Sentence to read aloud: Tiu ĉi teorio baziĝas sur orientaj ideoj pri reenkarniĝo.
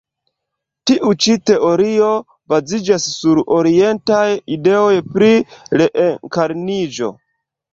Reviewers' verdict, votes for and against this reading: accepted, 2, 1